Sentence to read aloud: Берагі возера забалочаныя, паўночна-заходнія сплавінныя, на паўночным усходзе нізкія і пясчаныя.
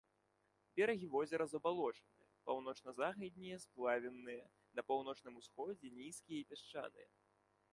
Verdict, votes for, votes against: rejected, 1, 2